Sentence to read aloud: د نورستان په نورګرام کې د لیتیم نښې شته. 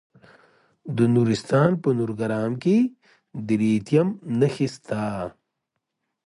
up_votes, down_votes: 1, 2